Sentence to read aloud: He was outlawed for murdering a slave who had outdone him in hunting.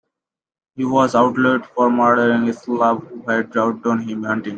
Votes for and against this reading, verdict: 1, 2, rejected